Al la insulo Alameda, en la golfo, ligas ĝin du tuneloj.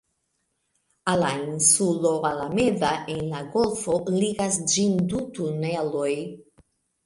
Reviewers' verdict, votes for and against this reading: accepted, 2, 0